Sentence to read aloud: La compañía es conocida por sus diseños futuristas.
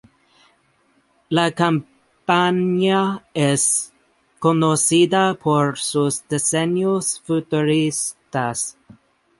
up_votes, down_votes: 0, 2